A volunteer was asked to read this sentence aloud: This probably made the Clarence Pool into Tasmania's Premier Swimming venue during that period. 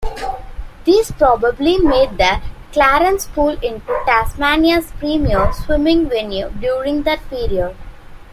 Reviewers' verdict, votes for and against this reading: rejected, 0, 2